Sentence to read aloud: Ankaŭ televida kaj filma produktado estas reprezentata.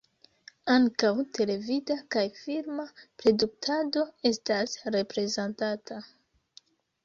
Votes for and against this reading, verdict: 2, 1, accepted